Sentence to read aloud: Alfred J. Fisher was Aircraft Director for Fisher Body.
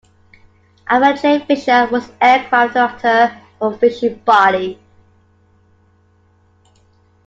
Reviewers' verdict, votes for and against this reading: rejected, 1, 2